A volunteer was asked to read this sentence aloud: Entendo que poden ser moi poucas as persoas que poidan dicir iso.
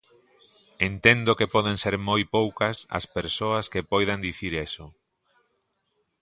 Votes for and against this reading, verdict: 0, 2, rejected